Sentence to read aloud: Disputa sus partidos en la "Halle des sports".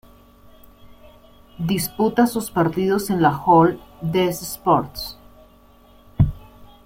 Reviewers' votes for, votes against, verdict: 0, 2, rejected